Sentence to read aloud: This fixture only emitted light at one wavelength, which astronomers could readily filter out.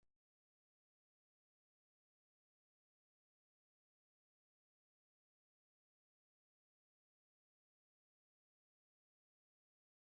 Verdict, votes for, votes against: rejected, 0, 3